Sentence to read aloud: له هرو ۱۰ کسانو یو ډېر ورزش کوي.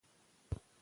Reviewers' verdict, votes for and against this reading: rejected, 0, 2